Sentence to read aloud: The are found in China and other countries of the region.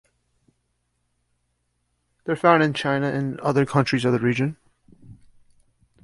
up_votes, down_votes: 1, 2